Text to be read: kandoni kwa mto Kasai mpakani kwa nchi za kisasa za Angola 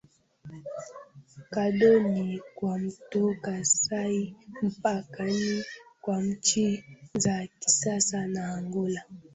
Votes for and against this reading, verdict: 0, 2, rejected